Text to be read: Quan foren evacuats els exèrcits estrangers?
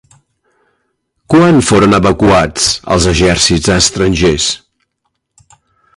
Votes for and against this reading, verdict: 1, 2, rejected